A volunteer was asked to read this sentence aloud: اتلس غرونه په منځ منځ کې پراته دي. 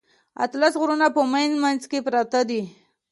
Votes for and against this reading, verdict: 2, 0, accepted